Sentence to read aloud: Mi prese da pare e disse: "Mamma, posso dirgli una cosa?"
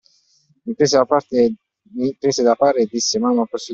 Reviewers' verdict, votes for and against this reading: rejected, 0, 2